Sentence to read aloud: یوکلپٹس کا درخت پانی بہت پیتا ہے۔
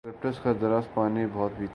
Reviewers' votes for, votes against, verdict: 0, 2, rejected